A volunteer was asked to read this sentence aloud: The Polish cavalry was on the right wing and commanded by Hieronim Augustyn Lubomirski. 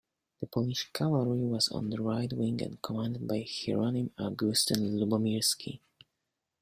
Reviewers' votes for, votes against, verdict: 0, 2, rejected